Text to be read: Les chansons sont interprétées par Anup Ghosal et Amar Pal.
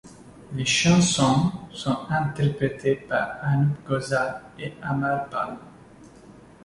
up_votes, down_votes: 2, 0